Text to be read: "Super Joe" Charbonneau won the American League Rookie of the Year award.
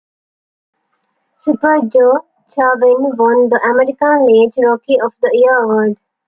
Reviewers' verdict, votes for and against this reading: rejected, 1, 2